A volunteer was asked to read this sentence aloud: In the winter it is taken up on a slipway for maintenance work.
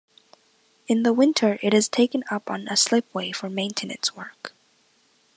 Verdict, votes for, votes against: accepted, 2, 0